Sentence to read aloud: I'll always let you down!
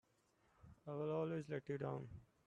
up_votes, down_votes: 0, 2